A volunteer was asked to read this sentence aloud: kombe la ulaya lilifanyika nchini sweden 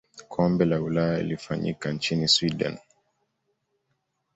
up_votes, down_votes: 2, 0